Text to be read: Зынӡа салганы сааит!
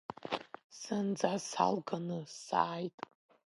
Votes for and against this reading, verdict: 0, 2, rejected